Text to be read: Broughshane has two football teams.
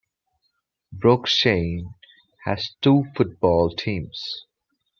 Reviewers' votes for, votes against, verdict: 2, 0, accepted